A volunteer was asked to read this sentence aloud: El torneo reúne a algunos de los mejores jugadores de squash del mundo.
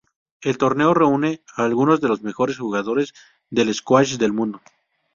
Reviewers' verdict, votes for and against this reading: rejected, 0, 2